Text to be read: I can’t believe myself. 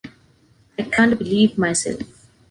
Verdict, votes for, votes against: accepted, 2, 0